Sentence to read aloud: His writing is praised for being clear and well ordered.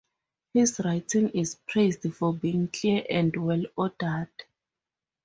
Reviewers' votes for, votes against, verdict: 4, 0, accepted